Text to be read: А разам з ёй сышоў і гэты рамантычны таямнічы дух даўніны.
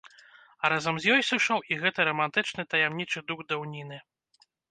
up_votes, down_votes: 1, 2